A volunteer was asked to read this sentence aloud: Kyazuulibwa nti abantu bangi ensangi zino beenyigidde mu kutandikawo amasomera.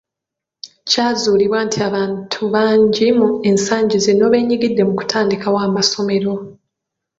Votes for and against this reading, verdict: 0, 2, rejected